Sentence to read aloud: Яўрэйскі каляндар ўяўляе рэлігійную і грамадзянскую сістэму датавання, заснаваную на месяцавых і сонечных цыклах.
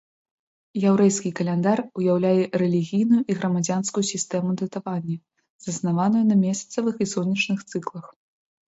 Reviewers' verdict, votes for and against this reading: accepted, 2, 0